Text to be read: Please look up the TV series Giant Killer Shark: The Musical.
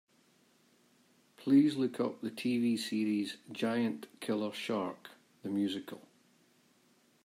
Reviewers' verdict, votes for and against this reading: accepted, 2, 0